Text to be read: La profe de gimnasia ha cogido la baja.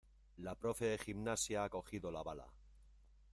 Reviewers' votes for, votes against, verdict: 1, 2, rejected